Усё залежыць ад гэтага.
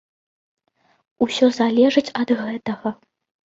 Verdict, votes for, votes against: accepted, 2, 0